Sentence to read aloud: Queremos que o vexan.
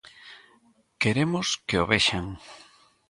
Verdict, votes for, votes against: accepted, 2, 0